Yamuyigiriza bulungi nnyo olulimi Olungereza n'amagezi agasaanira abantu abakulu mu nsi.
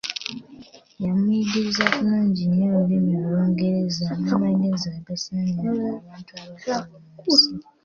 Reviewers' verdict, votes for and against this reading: rejected, 0, 2